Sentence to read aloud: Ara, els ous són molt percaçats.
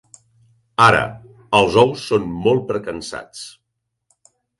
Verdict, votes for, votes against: rejected, 0, 3